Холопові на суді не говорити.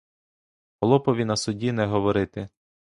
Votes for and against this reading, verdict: 0, 2, rejected